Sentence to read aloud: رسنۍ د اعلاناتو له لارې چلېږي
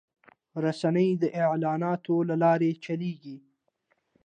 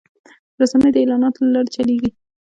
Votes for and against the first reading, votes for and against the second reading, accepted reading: 2, 0, 1, 2, first